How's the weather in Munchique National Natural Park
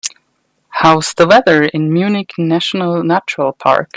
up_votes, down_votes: 2, 0